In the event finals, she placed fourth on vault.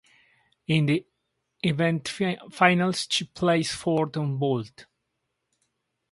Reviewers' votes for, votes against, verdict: 2, 4, rejected